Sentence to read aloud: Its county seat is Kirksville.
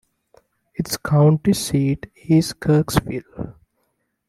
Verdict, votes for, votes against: accepted, 2, 1